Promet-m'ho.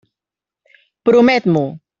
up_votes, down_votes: 3, 0